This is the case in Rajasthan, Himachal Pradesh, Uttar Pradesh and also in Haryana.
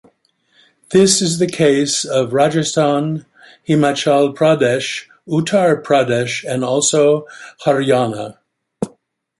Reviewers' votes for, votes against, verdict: 1, 2, rejected